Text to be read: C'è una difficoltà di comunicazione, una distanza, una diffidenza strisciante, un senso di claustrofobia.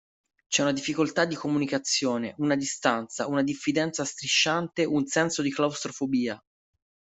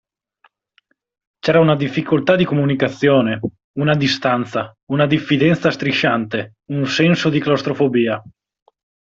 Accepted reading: first